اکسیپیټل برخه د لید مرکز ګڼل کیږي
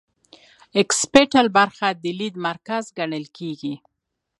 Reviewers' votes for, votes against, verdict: 2, 0, accepted